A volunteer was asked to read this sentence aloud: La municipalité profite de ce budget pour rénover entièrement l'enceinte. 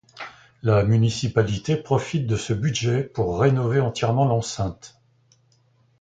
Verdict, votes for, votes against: accepted, 2, 0